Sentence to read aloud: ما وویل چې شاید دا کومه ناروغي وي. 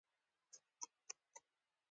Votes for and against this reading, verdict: 2, 0, accepted